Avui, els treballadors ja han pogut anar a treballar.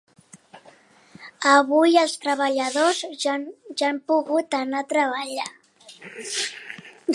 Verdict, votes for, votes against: rejected, 2, 3